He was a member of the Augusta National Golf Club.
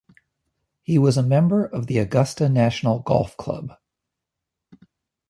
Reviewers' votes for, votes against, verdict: 2, 0, accepted